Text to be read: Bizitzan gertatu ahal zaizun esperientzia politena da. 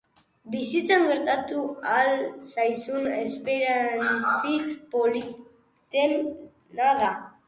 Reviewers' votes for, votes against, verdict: 0, 2, rejected